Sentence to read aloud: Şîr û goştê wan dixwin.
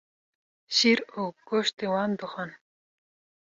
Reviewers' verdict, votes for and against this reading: rejected, 1, 2